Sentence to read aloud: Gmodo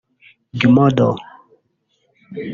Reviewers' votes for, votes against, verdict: 0, 2, rejected